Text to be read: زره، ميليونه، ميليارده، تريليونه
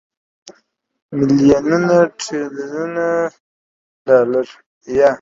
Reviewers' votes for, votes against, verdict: 0, 2, rejected